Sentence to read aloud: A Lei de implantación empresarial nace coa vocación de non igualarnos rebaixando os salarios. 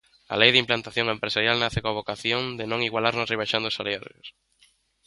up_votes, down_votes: 0, 2